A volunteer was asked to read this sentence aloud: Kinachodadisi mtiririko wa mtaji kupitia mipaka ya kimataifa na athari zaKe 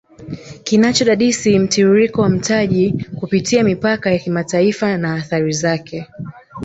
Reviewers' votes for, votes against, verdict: 0, 2, rejected